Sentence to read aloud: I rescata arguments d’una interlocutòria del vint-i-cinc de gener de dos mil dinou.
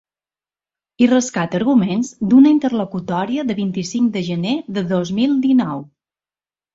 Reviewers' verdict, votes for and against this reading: accepted, 2, 1